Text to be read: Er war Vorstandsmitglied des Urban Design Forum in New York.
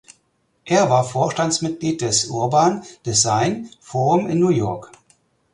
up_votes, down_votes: 4, 0